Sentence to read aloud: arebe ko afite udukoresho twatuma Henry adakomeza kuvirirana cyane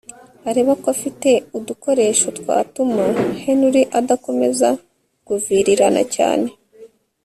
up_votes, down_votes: 1, 2